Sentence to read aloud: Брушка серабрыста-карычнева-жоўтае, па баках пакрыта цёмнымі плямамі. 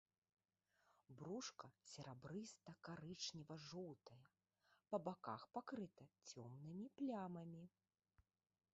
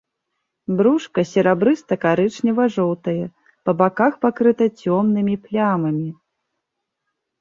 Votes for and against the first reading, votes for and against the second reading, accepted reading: 1, 2, 2, 0, second